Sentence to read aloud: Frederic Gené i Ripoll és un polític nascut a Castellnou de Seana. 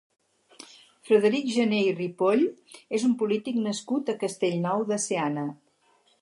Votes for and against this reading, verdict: 4, 0, accepted